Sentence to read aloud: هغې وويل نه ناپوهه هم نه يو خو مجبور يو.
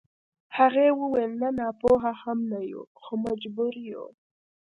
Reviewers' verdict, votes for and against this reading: accepted, 2, 0